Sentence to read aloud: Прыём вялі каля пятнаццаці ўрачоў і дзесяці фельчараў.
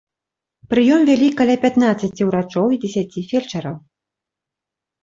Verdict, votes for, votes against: accepted, 2, 0